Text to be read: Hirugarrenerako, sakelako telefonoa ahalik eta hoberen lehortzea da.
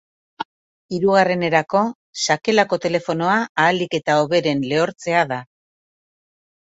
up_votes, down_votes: 2, 0